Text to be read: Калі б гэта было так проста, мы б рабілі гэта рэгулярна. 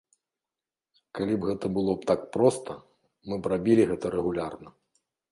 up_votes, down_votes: 2, 0